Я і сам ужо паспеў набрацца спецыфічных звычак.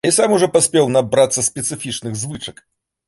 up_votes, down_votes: 1, 2